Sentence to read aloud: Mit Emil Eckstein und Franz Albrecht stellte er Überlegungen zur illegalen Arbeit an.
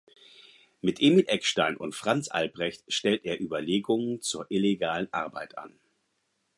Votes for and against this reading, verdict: 2, 4, rejected